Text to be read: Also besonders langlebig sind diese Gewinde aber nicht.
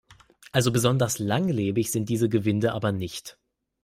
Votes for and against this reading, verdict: 2, 0, accepted